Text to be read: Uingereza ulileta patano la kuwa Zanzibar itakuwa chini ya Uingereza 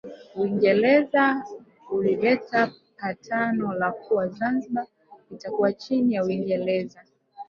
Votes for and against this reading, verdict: 2, 0, accepted